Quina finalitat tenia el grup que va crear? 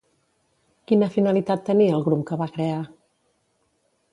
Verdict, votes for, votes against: accepted, 2, 0